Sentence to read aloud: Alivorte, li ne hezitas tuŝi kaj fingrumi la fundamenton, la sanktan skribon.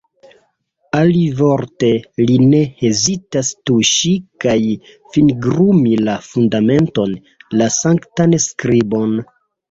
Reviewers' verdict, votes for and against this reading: accepted, 2, 1